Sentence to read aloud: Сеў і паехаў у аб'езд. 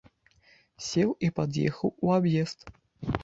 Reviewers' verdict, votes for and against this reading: rejected, 0, 2